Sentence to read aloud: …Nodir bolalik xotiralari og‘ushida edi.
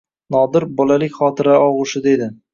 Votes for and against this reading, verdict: 1, 2, rejected